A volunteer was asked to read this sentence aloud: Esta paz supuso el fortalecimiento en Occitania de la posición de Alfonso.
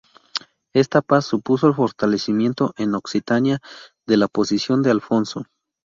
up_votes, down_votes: 2, 0